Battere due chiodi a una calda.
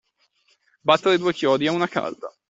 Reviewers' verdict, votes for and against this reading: accepted, 2, 0